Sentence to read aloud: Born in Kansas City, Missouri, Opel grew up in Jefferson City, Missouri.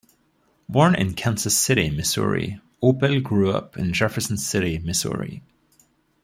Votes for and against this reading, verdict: 2, 0, accepted